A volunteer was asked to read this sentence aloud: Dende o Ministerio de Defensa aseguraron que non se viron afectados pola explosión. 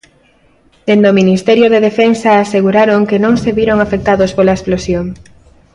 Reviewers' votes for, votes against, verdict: 2, 0, accepted